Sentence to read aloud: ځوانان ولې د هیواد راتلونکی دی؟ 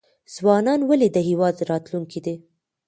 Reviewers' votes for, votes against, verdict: 1, 2, rejected